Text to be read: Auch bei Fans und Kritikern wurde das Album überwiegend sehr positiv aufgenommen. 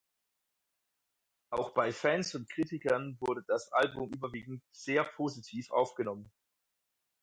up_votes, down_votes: 4, 0